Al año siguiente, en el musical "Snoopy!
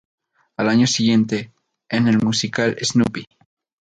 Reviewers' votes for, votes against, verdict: 2, 0, accepted